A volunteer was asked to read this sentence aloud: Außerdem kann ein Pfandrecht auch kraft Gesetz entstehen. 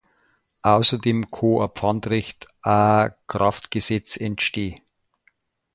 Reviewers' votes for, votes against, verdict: 0, 2, rejected